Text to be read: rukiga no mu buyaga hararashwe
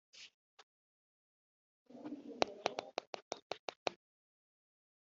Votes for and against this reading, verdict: 0, 4, rejected